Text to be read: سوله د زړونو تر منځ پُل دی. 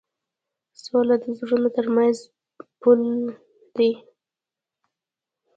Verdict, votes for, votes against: rejected, 0, 2